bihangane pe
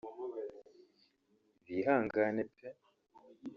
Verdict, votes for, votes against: accepted, 2, 0